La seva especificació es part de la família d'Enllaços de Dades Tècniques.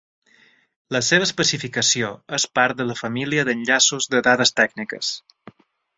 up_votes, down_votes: 3, 0